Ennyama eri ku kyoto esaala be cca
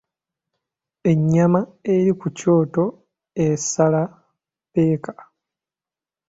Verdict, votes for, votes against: rejected, 0, 2